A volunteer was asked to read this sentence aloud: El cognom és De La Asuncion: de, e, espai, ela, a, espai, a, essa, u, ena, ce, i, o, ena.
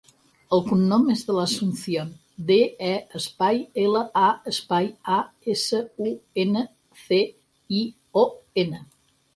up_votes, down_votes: 4, 0